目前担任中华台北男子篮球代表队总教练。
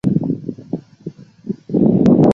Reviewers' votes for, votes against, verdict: 0, 3, rejected